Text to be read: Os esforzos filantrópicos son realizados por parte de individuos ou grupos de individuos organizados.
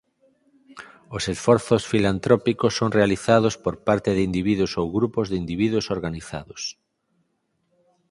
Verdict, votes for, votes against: accepted, 4, 0